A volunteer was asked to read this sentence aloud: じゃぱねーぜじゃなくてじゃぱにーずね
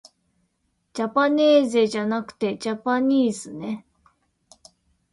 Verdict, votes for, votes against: accepted, 2, 0